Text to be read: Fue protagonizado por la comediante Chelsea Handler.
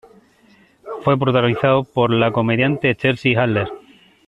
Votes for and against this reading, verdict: 2, 0, accepted